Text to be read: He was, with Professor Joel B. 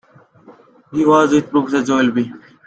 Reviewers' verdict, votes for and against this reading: rejected, 1, 2